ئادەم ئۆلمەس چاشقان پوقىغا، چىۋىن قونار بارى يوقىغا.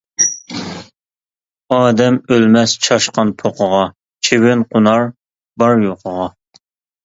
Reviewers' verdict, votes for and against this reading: rejected, 0, 2